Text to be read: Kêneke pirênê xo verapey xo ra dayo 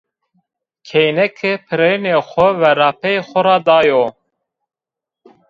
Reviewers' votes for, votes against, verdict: 2, 0, accepted